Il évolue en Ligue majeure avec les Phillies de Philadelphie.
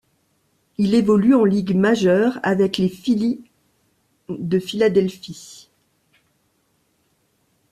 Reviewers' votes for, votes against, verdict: 2, 0, accepted